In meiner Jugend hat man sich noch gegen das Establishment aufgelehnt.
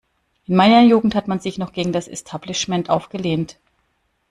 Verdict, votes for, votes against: rejected, 1, 2